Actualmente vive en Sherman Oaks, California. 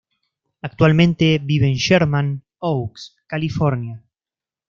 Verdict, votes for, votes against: accepted, 2, 0